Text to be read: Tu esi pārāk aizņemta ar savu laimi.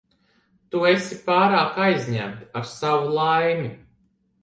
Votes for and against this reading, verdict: 2, 0, accepted